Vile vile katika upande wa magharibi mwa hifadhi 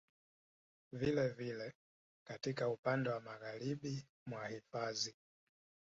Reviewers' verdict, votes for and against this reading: accepted, 2, 1